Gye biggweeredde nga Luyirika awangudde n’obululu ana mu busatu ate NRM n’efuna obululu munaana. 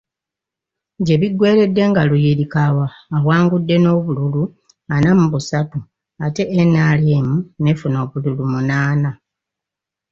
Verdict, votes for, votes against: rejected, 1, 2